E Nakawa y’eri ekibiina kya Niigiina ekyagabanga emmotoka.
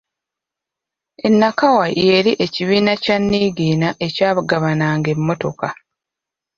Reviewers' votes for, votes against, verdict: 1, 2, rejected